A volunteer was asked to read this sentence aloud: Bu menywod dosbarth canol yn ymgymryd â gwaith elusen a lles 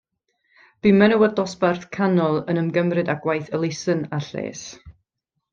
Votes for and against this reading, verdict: 2, 0, accepted